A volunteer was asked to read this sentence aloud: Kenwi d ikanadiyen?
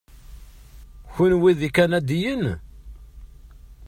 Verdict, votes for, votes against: accepted, 2, 0